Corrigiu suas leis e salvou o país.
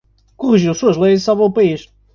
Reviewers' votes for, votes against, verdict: 2, 1, accepted